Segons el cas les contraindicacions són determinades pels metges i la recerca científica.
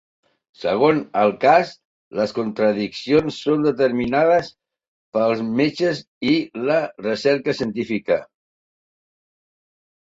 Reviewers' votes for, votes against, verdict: 0, 2, rejected